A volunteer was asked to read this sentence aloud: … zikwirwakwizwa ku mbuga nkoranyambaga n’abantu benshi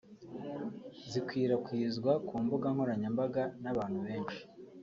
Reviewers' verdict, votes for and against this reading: accepted, 2, 1